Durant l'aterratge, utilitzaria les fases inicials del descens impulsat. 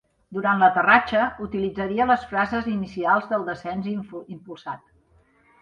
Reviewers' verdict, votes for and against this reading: rejected, 1, 2